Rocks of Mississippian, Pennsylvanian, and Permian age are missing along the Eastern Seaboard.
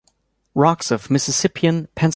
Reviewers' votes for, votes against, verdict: 1, 2, rejected